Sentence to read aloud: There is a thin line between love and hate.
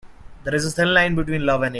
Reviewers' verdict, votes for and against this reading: rejected, 0, 2